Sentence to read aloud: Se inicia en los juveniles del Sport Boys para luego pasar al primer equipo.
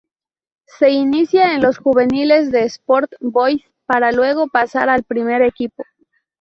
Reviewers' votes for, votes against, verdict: 0, 2, rejected